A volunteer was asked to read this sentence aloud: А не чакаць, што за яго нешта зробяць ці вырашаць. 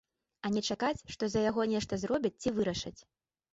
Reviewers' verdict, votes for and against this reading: accepted, 2, 0